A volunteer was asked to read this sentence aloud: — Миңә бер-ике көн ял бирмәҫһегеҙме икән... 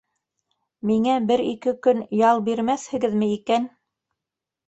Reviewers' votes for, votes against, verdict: 1, 2, rejected